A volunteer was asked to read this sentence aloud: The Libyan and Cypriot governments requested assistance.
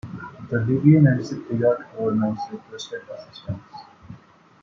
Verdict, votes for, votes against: accepted, 2, 1